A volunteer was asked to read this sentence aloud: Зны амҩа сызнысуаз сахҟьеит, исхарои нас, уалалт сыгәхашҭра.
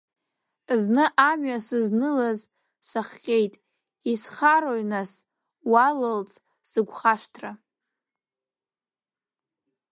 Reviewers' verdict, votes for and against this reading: rejected, 0, 2